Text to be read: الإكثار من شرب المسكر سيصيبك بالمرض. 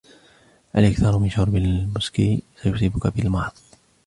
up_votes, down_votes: 1, 2